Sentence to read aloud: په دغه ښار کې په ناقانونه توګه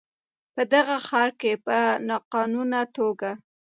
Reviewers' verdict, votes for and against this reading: accepted, 2, 1